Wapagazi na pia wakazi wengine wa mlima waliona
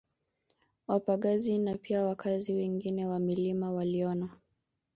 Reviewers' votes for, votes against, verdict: 1, 2, rejected